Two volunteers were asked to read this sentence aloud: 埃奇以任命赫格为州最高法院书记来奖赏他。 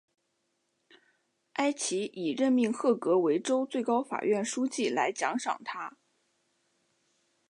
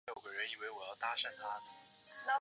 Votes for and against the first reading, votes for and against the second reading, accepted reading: 2, 0, 4, 5, first